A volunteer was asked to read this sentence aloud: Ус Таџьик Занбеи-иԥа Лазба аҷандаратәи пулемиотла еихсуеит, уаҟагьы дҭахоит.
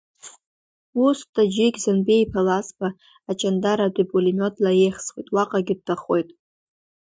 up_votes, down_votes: 0, 2